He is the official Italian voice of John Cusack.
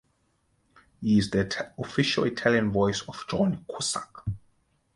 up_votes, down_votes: 0, 2